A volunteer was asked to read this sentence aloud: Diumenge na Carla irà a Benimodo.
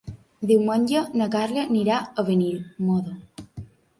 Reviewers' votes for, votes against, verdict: 0, 2, rejected